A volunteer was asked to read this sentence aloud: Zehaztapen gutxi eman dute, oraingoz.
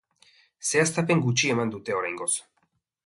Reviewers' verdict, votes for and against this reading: accepted, 2, 0